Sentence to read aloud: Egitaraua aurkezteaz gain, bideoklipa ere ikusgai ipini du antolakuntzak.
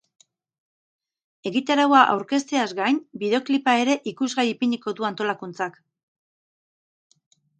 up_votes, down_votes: 4, 0